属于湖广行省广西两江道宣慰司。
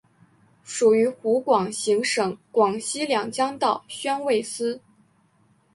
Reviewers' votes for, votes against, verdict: 3, 1, accepted